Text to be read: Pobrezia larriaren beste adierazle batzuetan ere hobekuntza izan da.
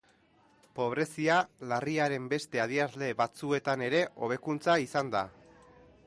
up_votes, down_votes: 2, 0